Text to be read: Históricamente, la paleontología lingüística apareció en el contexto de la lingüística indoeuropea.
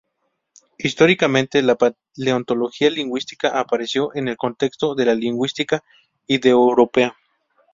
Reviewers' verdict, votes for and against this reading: rejected, 0, 2